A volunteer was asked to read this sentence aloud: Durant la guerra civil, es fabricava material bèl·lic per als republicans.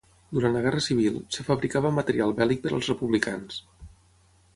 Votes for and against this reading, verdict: 3, 6, rejected